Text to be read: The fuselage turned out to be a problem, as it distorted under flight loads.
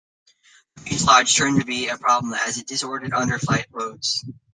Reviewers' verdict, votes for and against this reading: rejected, 1, 2